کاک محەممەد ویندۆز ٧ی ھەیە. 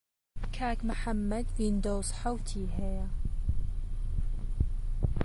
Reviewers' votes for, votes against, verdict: 0, 2, rejected